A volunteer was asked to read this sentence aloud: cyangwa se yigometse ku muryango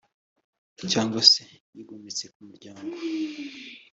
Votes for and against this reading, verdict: 2, 0, accepted